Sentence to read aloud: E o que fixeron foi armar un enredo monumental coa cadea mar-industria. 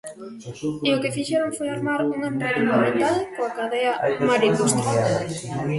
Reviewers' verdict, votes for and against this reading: rejected, 1, 2